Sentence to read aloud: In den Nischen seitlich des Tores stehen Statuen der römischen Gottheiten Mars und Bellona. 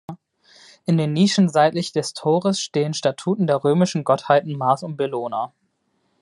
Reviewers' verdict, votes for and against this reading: rejected, 0, 2